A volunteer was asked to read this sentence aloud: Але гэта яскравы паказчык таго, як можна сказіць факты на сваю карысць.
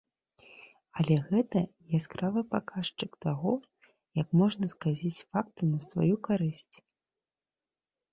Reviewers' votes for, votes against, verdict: 2, 0, accepted